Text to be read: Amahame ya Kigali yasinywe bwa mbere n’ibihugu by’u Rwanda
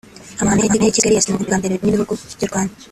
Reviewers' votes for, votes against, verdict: 0, 2, rejected